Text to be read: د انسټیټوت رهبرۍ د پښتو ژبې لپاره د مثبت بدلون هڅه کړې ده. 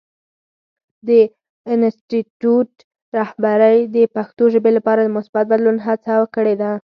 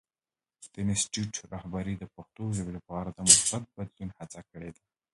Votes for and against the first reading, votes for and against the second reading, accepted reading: 2, 4, 2, 1, second